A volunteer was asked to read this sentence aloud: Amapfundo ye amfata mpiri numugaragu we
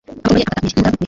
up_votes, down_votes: 0, 2